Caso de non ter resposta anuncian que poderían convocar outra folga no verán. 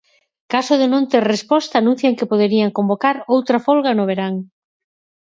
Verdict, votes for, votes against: accepted, 4, 0